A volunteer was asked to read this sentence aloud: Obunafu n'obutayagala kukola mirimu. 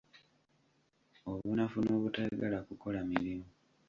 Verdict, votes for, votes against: rejected, 1, 2